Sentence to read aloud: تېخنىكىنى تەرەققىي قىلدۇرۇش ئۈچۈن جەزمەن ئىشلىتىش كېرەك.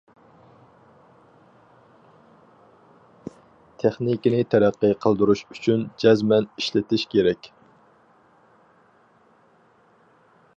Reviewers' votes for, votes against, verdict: 4, 0, accepted